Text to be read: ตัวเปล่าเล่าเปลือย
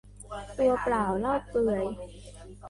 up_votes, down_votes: 0, 3